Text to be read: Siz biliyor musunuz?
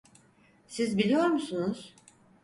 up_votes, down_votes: 4, 0